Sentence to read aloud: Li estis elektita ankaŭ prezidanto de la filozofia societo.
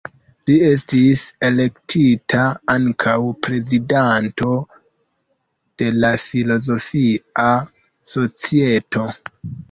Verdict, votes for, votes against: rejected, 1, 2